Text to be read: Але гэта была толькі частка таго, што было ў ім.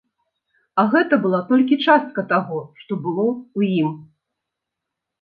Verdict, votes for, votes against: rejected, 0, 3